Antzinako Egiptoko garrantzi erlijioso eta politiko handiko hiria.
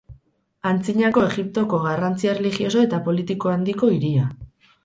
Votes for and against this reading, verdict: 2, 2, rejected